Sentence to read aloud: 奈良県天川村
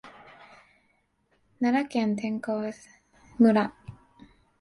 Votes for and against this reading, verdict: 2, 3, rejected